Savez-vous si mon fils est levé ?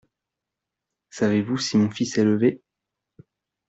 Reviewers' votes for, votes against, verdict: 2, 0, accepted